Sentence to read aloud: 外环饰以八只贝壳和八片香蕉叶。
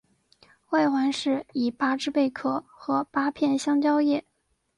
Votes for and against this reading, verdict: 2, 0, accepted